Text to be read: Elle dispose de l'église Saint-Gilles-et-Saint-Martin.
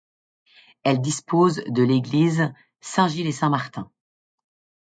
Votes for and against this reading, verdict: 2, 0, accepted